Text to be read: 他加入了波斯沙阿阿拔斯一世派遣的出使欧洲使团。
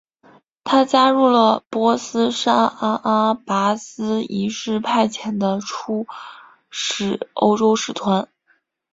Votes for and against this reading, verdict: 3, 0, accepted